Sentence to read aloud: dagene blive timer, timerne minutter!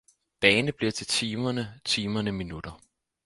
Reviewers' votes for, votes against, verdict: 2, 4, rejected